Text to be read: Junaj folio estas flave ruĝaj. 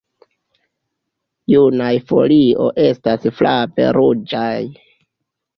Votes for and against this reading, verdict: 2, 1, accepted